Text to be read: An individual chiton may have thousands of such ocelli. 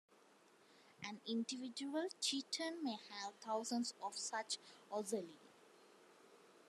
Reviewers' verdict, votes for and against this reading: rejected, 1, 2